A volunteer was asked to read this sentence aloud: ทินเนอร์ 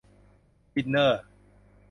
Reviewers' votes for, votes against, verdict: 1, 2, rejected